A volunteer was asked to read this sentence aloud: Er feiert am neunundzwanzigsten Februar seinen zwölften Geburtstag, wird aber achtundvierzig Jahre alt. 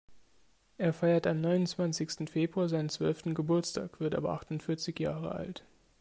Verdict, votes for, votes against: accepted, 2, 0